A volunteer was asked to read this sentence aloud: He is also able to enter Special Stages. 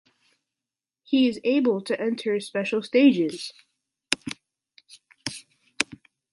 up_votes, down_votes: 1, 2